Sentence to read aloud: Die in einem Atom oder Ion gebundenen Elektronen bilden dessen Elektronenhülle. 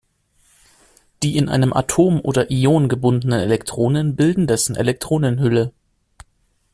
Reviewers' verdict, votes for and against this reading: rejected, 0, 2